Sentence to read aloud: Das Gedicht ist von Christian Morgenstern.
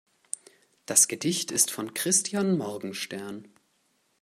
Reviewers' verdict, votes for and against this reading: accepted, 2, 0